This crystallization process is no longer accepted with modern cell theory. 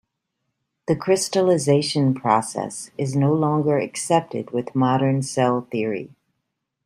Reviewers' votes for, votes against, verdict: 1, 2, rejected